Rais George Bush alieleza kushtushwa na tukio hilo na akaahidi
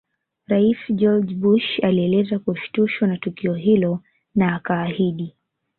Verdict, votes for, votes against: accepted, 2, 0